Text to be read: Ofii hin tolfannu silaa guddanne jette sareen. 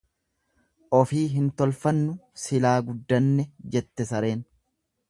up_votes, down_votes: 2, 0